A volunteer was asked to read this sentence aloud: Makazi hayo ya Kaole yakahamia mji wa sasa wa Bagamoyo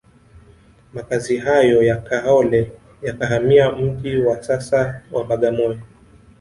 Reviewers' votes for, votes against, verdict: 0, 2, rejected